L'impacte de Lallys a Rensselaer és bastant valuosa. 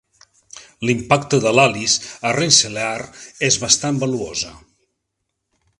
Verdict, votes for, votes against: accepted, 3, 0